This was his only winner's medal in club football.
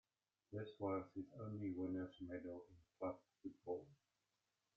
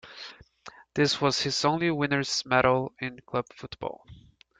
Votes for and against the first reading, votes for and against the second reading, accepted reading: 1, 2, 2, 1, second